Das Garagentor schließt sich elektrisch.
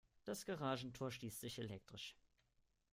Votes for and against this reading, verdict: 2, 0, accepted